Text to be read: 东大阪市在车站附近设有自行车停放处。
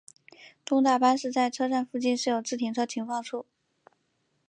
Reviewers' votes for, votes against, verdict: 2, 1, accepted